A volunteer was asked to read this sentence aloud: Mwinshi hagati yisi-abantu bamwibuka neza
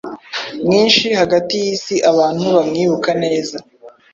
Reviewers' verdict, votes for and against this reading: accepted, 2, 0